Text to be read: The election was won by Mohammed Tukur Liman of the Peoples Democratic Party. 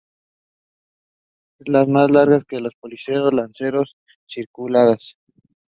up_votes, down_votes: 0, 2